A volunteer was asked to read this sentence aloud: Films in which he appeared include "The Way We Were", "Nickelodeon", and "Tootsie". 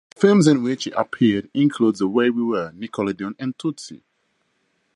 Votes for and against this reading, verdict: 2, 0, accepted